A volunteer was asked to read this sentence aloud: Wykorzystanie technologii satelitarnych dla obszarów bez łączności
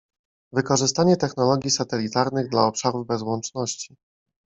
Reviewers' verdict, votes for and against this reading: accepted, 2, 0